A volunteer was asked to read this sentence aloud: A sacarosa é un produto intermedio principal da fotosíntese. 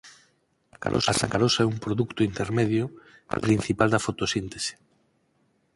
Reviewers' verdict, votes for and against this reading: rejected, 2, 8